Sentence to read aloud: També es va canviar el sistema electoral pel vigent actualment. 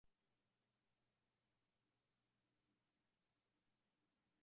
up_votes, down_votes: 0, 2